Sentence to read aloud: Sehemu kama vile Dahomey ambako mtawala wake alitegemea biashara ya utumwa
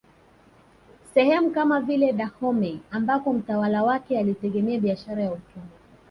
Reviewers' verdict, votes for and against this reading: accepted, 2, 1